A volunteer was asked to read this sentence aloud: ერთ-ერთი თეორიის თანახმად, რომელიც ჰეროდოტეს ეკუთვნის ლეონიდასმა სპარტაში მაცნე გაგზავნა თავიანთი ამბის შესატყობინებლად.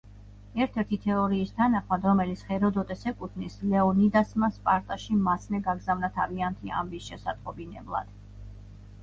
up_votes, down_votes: 3, 0